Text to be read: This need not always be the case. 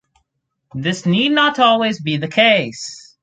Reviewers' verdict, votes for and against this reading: rejected, 2, 2